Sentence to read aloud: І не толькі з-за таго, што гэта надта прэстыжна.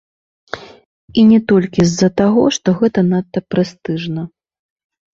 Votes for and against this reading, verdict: 0, 2, rejected